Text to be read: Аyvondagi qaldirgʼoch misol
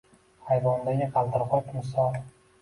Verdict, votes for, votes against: accepted, 2, 0